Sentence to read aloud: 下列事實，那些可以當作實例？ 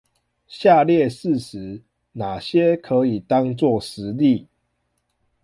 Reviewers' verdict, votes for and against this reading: accepted, 2, 0